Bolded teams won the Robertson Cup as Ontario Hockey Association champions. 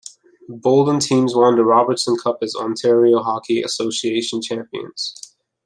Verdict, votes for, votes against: rejected, 0, 2